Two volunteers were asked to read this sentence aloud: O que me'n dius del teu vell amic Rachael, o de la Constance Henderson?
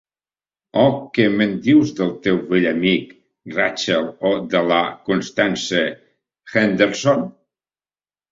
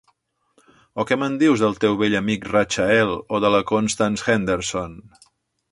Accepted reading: second